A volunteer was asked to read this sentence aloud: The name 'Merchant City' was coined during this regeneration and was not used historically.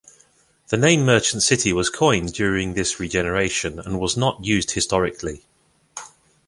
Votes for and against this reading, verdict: 2, 0, accepted